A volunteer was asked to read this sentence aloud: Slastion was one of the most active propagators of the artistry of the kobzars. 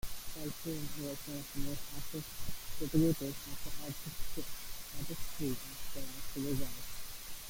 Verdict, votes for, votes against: rejected, 0, 2